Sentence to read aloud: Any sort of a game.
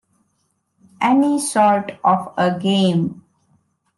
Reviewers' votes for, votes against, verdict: 1, 2, rejected